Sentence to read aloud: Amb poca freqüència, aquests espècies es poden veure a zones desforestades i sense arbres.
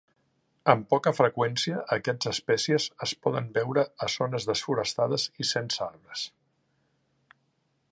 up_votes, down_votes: 3, 0